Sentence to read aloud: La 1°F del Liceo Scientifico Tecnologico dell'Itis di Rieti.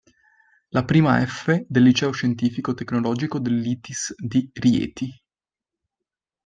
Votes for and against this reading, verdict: 0, 2, rejected